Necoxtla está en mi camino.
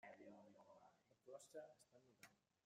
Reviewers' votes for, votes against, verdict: 0, 2, rejected